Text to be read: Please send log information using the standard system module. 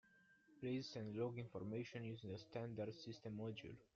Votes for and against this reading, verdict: 0, 2, rejected